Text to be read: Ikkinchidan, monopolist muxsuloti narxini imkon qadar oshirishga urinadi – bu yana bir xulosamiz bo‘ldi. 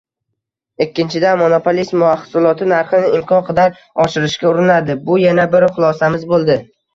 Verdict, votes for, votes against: rejected, 1, 2